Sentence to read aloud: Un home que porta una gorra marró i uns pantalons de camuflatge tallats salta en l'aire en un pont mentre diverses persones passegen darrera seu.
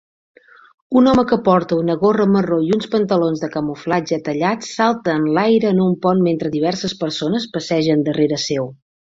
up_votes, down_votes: 2, 0